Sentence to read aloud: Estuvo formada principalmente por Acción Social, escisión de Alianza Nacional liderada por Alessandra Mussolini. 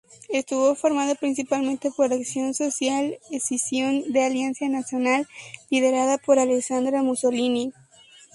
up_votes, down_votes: 2, 2